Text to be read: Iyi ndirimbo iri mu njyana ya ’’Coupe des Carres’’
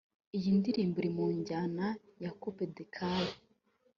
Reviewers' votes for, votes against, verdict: 3, 0, accepted